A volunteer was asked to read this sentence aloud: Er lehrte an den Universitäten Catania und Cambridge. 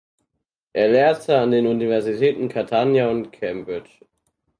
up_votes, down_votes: 4, 0